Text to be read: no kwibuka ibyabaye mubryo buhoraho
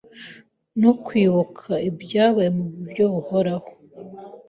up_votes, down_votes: 2, 0